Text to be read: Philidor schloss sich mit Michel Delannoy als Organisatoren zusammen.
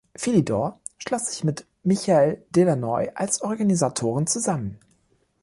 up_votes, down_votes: 2, 0